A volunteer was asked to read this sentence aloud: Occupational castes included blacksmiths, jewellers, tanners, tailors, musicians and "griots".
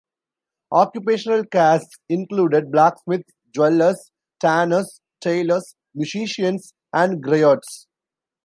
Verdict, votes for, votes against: rejected, 1, 2